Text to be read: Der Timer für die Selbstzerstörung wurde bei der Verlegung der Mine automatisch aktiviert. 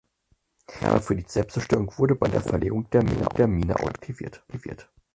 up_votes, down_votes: 0, 4